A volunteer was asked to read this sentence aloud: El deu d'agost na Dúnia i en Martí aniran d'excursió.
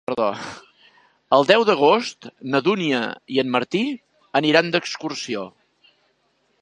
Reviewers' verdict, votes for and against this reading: rejected, 0, 2